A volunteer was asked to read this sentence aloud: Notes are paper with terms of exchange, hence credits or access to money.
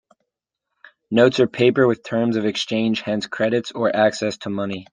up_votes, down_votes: 2, 0